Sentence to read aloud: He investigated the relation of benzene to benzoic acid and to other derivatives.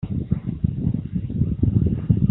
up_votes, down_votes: 0, 2